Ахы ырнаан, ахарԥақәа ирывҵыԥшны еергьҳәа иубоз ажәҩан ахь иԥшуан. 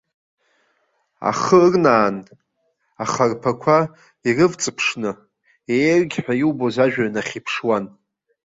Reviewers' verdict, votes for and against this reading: rejected, 1, 2